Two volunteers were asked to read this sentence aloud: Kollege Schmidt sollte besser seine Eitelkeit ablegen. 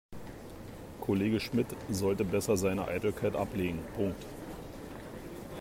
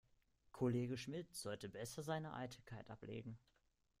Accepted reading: second